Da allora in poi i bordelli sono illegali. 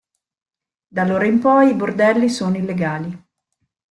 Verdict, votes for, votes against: accepted, 2, 0